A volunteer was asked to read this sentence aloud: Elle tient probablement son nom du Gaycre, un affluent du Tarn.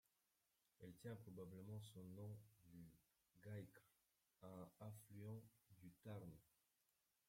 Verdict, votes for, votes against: rejected, 0, 2